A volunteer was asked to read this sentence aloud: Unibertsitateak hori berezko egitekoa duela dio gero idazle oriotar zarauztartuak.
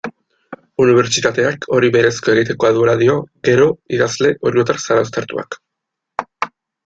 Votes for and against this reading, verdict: 2, 1, accepted